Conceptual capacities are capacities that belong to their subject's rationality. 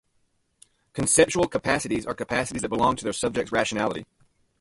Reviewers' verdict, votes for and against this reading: rejected, 0, 2